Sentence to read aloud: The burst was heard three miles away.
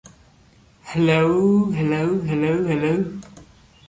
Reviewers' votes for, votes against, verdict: 0, 2, rejected